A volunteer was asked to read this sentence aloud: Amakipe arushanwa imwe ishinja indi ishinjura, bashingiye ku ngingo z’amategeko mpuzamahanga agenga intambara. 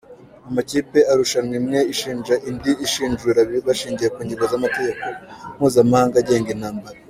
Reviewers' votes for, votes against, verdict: 2, 0, accepted